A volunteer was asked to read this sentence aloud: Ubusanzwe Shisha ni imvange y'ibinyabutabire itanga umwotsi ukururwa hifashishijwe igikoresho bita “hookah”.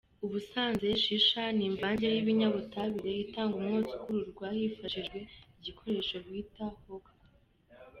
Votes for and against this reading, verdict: 3, 0, accepted